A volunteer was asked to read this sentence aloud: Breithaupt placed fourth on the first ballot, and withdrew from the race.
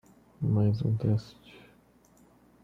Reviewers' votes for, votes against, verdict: 0, 2, rejected